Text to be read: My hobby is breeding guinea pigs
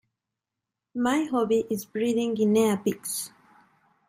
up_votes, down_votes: 0, 2